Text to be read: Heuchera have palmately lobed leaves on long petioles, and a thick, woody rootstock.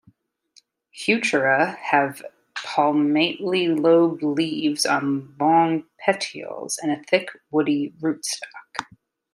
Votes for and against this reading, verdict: 2, 0, accepted